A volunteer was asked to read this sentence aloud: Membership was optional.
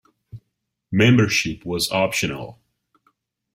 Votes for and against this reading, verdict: 2, 0, accepted